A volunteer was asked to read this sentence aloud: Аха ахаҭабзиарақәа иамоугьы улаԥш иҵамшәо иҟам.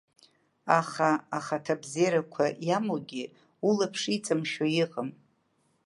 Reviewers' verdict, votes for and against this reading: accepted, 2, 0